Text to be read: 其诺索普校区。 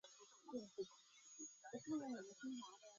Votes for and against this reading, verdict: 0, 3, rejected